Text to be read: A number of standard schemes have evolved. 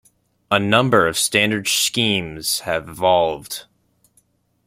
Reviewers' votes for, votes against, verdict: 1, 2, rejected